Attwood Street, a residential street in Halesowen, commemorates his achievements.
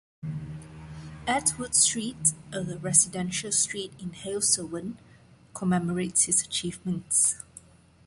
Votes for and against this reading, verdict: 1, 2, rejected